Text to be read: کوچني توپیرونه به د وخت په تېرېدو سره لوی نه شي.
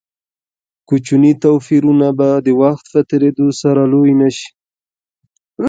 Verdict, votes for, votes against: rejected, 1, 2